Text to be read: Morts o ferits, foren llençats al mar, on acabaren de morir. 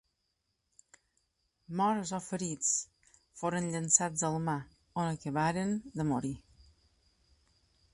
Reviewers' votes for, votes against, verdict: 3, 0, accepted